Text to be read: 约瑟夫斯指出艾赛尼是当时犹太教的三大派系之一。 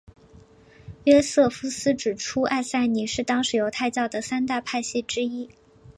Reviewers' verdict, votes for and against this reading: accepted, 2, 0